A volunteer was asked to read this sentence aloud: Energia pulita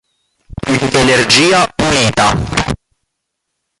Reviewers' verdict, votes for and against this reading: rejected, 1, 3